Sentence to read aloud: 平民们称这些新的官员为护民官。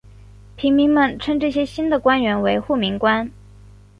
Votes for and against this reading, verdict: 4, 1, accepted